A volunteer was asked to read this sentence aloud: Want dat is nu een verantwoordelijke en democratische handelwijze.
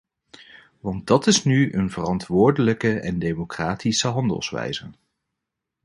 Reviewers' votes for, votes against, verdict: 2, 0, accepted